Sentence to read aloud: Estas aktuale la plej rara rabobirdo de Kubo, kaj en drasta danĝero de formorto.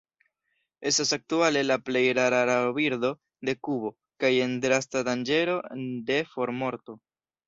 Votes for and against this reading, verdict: 1, 2, rejected